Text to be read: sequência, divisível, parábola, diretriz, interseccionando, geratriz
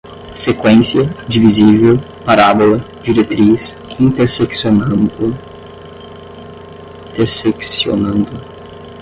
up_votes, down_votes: 5, 5